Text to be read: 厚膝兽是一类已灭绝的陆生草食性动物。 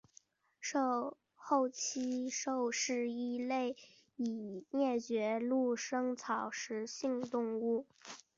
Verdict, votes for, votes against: rejected, 0, 2